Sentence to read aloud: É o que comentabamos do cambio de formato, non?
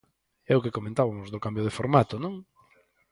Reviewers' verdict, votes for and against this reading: rejected, 2, 4